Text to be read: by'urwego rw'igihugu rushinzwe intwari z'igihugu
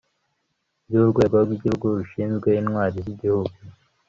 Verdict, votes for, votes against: accepted, 2, 0